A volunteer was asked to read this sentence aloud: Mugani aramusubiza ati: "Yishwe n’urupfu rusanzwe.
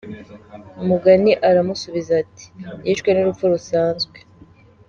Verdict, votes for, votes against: accepted, 3, 0